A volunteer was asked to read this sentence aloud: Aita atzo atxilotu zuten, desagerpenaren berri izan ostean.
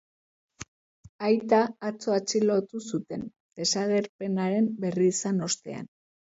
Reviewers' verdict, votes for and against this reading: accepted, 2, 0